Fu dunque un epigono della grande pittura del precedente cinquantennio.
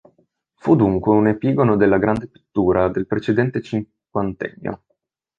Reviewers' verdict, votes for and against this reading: rejected, 0, 2